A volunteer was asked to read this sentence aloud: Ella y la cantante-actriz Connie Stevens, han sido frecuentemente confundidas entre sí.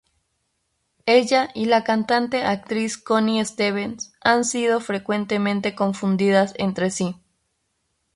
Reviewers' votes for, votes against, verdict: 2, 2, rejected